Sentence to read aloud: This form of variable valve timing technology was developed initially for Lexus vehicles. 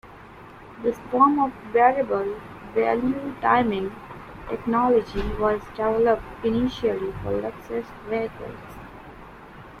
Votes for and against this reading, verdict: 2, 0, accepted